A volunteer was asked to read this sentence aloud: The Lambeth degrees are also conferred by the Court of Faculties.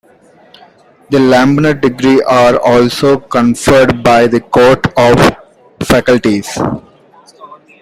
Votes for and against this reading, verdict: 2, 0, accepted